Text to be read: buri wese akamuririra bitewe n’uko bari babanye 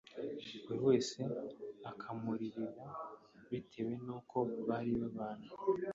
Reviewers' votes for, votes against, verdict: 2, 0, accepted